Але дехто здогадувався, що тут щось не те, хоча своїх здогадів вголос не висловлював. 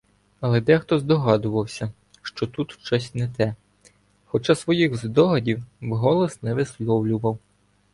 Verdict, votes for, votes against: accepted, 2, 0